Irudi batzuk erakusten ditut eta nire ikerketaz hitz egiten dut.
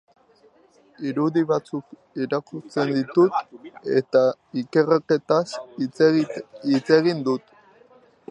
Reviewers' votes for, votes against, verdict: 0, 2, rejected